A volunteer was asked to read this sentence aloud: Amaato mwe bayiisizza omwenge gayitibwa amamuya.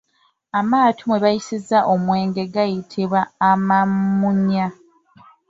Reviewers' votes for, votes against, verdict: 0, 2, rejected